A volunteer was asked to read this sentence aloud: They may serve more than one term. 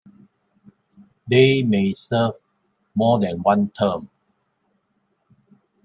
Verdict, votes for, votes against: rejected, 0, 2